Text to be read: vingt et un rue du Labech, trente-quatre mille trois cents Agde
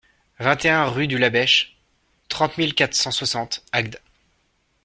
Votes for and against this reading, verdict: 1, 2, rejected